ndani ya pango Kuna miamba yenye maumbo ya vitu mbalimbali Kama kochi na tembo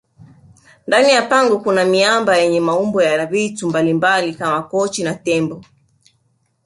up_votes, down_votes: 3, 0